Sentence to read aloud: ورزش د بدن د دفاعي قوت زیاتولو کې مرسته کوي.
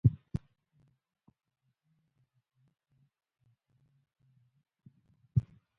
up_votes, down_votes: 2, 0